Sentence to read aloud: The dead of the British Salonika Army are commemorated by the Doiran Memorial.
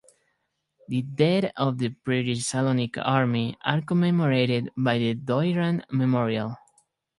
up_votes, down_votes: 4, 0